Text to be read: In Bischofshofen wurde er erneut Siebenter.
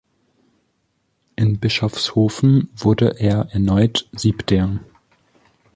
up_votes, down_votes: 0, 2